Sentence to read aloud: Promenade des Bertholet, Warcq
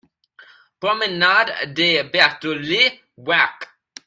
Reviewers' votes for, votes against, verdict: 0, 2, rejected